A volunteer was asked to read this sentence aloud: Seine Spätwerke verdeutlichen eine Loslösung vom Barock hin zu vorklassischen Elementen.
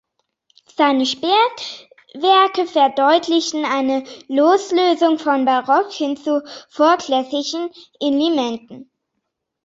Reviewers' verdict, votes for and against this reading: rejected, 1, 2